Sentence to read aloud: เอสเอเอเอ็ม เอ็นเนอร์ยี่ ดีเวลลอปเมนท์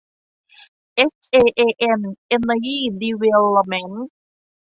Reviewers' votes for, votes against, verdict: 2, 0, accepted